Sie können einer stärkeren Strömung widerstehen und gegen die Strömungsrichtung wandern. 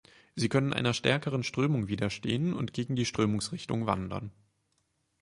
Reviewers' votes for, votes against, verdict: 4, 0, accepted